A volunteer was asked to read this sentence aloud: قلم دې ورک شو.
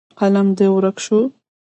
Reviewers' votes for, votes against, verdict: 1, 2, rejected